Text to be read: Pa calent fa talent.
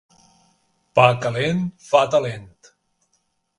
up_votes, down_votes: 1, 2